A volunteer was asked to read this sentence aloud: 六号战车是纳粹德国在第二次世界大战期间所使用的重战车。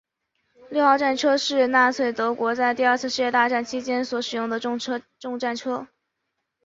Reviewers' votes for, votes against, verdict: 1, 2, rejected